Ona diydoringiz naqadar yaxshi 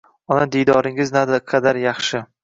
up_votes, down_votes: 2, 0